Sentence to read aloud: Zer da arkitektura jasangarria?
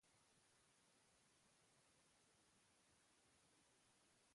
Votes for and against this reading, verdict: 0, 2, rejected